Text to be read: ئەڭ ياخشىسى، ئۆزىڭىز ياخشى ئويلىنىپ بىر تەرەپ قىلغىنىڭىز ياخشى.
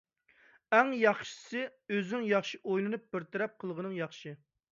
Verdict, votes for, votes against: rejected, 0, 2